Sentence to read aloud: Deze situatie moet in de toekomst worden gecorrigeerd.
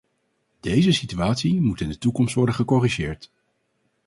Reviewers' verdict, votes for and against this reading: accepted, 4, 0